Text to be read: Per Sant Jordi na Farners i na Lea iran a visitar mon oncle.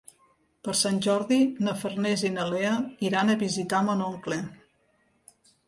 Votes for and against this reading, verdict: 2, 0, accepted